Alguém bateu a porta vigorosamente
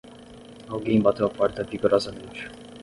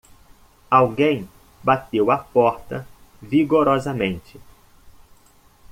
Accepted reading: second